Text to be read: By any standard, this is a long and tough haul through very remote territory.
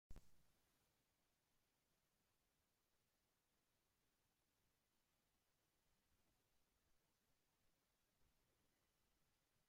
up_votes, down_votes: 0, 2